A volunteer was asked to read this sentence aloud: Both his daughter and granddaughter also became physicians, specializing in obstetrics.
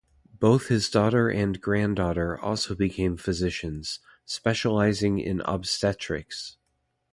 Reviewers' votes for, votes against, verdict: 2, 0, accepted